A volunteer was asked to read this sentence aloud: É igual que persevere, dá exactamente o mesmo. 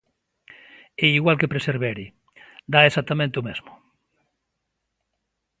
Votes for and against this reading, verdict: 0, 2, rejected